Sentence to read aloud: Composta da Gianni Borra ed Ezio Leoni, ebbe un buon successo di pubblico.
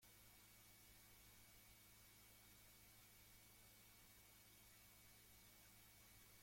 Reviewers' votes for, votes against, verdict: 0, 2, rejected